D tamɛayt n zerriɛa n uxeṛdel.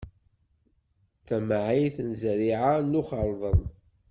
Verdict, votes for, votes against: rejected, 0, 2